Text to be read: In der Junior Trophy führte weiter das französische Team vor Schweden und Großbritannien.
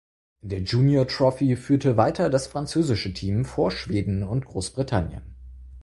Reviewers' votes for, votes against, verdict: 2, 4, rejected